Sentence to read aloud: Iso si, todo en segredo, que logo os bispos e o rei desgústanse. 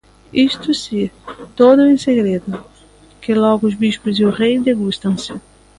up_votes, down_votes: 0, 2